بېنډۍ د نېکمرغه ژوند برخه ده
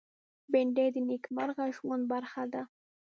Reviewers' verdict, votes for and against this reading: rejected, 1, 2